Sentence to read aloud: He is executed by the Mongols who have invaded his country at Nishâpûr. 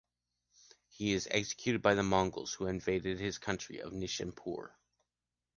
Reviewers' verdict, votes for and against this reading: accepted, 2, 0